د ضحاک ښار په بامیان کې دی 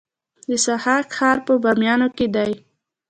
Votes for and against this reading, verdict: 2, 0, accepted